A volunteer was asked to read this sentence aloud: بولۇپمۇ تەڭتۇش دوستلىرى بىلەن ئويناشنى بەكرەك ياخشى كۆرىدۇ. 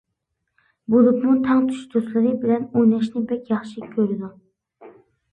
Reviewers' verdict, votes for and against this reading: rejected, 0, 2